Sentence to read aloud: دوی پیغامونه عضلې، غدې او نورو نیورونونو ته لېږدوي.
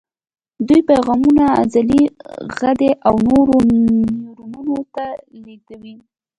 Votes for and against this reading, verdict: 2, 0, accepted